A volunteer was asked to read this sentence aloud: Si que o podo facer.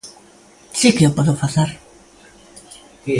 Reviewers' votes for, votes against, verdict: 1, 2, rejected